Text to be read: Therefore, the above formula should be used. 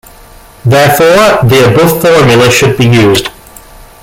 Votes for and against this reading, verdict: 0, 2, rejected